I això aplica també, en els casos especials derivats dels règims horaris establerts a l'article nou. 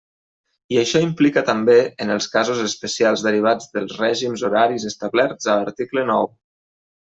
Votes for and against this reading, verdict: 0, 2, rejected